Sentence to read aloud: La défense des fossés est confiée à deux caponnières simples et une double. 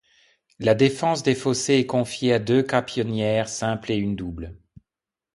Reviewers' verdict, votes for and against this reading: rejected, 1, 2